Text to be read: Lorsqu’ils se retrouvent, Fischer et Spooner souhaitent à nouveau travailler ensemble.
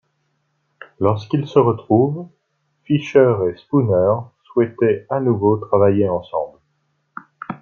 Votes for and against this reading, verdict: 1, 2, rejected